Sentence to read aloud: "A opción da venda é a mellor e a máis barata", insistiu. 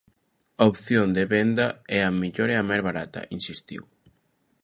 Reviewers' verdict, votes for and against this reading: rejected, 0, 2